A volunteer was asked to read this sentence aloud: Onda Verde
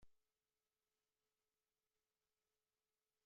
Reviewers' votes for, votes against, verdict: 0, 2, rejected